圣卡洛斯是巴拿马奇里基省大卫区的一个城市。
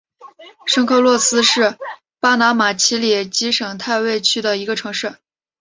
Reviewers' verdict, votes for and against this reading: accepted, 3, 0